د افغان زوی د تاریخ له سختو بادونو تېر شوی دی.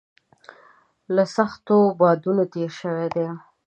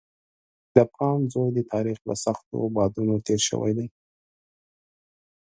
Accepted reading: second